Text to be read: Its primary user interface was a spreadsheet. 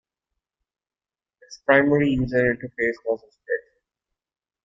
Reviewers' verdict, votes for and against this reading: accepted, 3, 1